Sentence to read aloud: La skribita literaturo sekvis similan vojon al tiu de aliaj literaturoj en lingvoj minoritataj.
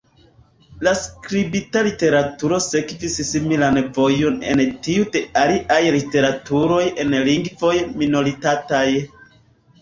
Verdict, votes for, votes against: accepted, 2, 1